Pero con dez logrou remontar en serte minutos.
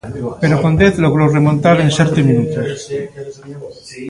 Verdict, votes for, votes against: rejected, 1, 2